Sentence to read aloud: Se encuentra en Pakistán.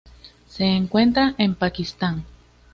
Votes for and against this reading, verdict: 2, 0, accepted